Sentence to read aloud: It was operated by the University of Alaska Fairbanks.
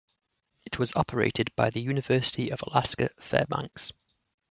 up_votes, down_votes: 2, 0